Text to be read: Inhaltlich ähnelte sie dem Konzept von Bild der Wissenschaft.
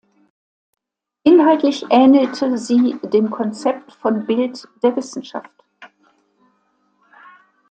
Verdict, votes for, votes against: accepted, 2, 0